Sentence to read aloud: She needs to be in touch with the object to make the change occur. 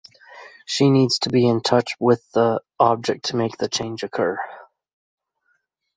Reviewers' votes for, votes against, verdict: 2, 0, accepted